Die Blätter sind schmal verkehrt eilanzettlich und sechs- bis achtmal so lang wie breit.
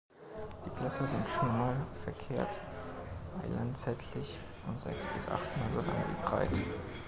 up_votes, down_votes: 0, 2